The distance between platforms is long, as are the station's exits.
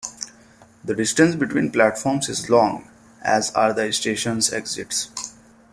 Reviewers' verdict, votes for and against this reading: rejected, 1, 2